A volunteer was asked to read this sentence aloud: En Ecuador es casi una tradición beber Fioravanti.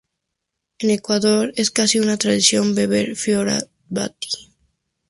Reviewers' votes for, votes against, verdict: 0, 2, rejected